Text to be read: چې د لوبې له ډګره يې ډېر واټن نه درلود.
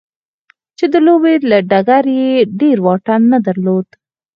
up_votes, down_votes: 4, 0